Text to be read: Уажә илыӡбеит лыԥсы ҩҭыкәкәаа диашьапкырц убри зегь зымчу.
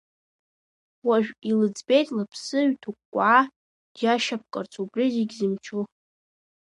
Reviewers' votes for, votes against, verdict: 2, 0, accepted